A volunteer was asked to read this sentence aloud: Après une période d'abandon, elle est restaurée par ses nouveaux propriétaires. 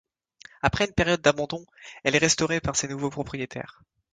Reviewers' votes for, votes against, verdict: 2, 0, accepted